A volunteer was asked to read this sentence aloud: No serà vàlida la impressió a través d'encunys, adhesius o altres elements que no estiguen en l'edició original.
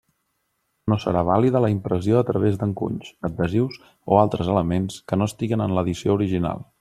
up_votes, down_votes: 2, 0